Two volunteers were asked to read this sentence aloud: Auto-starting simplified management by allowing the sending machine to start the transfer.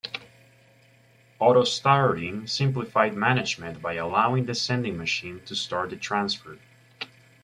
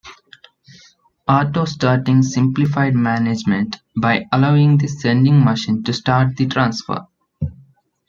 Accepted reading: second